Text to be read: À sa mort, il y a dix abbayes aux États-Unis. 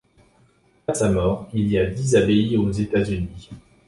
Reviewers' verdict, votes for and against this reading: accepted, 2, 0